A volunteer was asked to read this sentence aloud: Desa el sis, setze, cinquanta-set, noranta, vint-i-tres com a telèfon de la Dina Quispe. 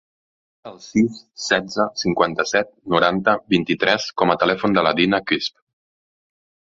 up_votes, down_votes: 0, 2